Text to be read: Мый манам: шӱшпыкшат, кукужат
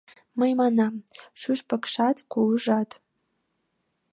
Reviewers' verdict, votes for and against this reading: rejected, 1, 2